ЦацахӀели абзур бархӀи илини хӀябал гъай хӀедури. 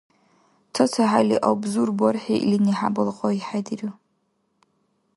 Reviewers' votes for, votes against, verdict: 1, 2, rejected